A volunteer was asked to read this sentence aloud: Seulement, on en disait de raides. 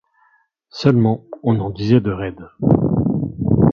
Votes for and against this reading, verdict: 2, 1, accepted